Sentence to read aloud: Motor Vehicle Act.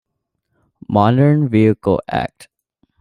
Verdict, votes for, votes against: rejected, 1, 2